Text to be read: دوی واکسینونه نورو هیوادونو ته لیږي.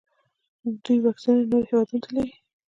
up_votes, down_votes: 0, 2